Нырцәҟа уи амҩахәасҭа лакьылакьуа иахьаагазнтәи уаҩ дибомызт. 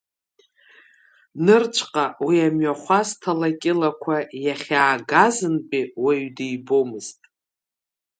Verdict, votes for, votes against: rejected, 1, 2